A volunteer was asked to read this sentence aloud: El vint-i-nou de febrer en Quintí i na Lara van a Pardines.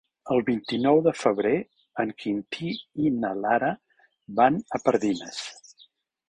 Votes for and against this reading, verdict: 4, 0, accepted